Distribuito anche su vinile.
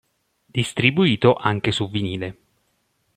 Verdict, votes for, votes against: accepted, 2, 0